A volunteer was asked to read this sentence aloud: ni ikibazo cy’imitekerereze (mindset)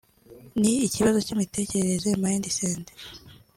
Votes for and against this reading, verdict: 2, 0, accepted